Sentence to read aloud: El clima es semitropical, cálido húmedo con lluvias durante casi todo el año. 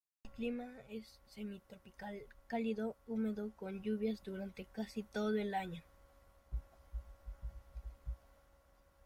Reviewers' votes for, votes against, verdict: 1, 2, rejected